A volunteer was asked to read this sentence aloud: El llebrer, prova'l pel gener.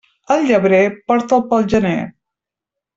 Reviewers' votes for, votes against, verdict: 1, 3, rejected